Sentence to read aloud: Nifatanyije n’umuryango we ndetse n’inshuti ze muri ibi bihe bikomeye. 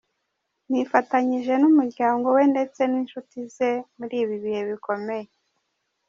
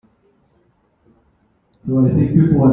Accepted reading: first